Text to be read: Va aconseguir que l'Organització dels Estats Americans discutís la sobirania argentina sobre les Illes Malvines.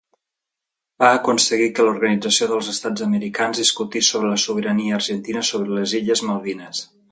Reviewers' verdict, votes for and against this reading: rejected, 0, 2